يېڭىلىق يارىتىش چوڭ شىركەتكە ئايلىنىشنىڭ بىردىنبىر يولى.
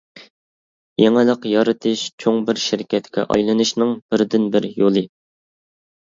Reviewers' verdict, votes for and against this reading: rejected, 1, 2